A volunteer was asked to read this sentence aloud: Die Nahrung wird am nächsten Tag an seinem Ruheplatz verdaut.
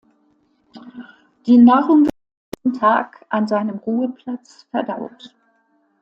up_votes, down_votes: 0, 2